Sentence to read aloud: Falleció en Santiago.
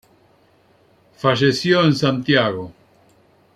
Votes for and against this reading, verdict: 2, 0, accepted